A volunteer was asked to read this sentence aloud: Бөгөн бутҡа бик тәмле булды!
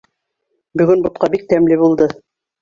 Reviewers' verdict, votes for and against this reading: accepted, 2, 1